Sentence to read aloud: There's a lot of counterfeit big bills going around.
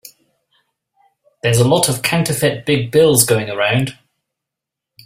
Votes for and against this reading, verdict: 2, 0, accepted